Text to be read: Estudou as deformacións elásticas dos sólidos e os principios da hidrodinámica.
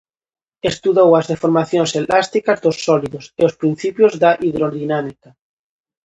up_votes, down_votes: 2, 0